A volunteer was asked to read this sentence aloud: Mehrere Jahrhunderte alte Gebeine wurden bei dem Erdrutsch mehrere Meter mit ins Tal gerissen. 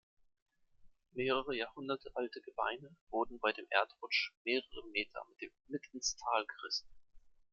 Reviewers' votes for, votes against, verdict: 2, 1, accepted